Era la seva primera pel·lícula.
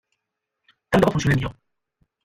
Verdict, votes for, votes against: rejected, 0, 2